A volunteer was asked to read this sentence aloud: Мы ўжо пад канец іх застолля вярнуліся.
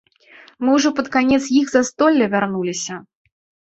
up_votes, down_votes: 2, 0